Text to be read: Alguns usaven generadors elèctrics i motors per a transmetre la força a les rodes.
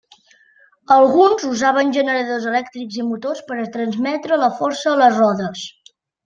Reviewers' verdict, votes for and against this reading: accepted, 2, 0